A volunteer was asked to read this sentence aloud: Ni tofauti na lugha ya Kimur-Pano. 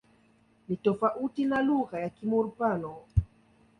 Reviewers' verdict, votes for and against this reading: accepted, 2, 0